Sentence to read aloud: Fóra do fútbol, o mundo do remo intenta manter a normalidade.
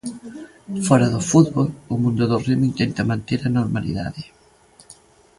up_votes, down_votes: 2, 0